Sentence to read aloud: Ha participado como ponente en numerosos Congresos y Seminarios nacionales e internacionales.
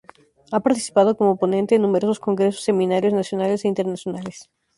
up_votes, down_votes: 0, 2